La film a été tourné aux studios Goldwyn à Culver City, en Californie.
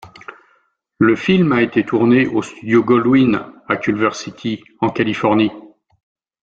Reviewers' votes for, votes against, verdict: 2, 0, accepted